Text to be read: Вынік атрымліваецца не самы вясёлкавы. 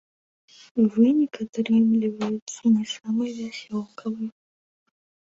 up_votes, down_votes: 2, 0